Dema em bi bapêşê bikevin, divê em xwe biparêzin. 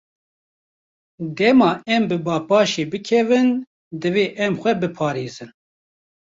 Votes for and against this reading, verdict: 0, 2, rejected